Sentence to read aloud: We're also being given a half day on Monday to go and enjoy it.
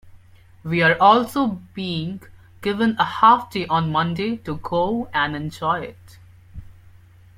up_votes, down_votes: 1, 2